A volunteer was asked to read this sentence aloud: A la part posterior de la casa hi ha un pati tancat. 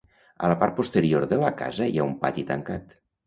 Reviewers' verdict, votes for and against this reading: accepted, 2, 0